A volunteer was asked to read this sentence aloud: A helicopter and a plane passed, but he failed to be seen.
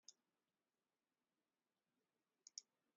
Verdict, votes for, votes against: rejected, 0, 2